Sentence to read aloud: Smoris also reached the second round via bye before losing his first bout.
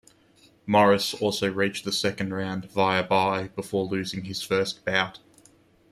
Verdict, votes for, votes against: accepted, 2, 0